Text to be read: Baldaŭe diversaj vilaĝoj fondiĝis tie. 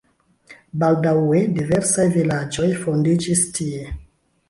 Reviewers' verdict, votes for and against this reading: accepted, 2, 1